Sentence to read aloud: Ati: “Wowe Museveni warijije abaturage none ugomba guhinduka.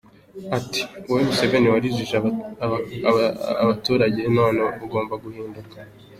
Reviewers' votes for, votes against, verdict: 2, 0, accepted